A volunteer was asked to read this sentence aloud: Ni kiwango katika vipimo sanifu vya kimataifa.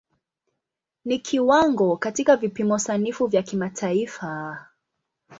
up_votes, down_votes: 2, 0